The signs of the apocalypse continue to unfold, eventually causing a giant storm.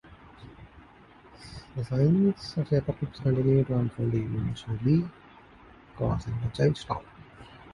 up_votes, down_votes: 0, 4